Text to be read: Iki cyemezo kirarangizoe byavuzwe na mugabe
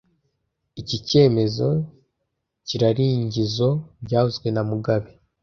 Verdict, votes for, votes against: rejected, 1, 2